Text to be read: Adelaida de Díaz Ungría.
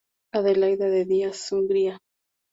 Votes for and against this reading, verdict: 2, 0, accepted